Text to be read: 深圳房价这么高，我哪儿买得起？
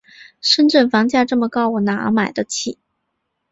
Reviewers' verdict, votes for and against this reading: accepted, 4, 0